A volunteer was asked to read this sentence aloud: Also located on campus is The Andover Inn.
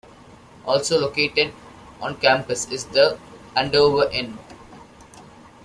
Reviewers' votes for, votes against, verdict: 2, 0, accepted